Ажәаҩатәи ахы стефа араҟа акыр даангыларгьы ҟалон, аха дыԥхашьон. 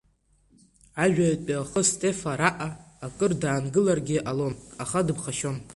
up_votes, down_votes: 0, 2